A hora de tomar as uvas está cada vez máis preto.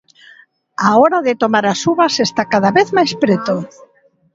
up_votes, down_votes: 2, 0